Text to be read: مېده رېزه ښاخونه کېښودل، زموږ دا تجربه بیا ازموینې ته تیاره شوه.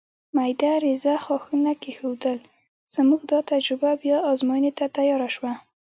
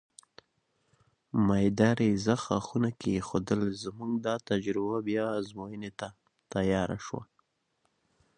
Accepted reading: first